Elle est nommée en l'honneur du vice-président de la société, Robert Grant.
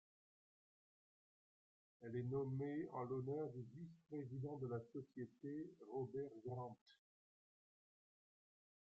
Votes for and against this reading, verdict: 2, 1, accepted